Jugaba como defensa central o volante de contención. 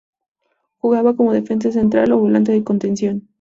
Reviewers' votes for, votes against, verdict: 2, 0, accepted